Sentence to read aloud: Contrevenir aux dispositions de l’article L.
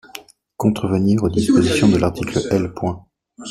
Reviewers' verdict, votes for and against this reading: rejected, 0, 2